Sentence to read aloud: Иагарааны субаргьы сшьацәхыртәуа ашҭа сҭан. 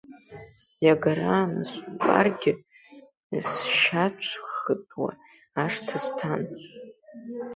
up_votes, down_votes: 0, 2